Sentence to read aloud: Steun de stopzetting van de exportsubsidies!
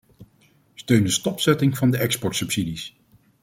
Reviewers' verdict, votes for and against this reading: accepted, 2, 0